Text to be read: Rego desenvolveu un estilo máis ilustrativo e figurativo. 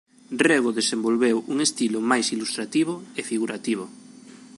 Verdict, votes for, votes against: accepted, 2, 1